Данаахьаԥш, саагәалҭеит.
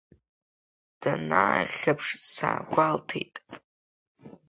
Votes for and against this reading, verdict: 3, 0, accepted